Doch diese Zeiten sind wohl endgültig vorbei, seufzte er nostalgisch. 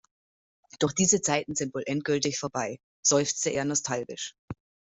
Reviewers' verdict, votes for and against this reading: accepted, 2, 0